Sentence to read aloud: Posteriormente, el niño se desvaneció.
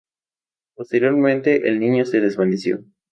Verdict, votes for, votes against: accepted, 2, 0